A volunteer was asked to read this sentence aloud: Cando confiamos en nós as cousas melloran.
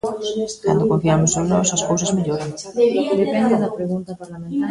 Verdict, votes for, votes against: rejected, 0, 2